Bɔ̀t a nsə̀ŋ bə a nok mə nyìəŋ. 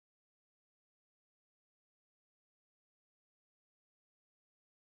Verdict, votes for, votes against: rejected, 0, 2